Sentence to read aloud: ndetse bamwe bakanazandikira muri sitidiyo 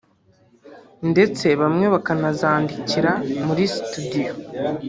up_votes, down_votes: 1, 2